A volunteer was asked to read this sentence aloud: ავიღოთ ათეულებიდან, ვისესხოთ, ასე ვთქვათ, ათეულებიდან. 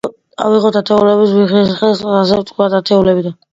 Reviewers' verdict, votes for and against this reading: rejected, 0, 2